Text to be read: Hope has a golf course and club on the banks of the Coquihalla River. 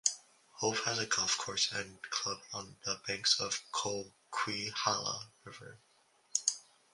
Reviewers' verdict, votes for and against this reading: rejected, 0, 2